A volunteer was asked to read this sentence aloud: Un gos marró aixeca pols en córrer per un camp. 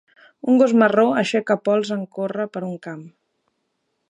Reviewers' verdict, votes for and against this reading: accepted, 3, 0